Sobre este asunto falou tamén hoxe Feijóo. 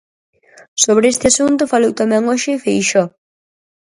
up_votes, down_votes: 2, 4